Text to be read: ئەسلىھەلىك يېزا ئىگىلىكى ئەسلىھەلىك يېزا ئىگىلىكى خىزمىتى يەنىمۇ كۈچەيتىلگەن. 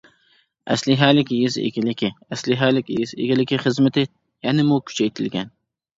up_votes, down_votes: 2, 0